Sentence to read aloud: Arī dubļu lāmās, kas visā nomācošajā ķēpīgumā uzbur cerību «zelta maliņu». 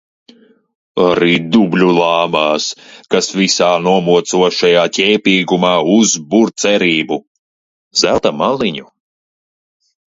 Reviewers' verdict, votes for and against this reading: rejected, 1, 2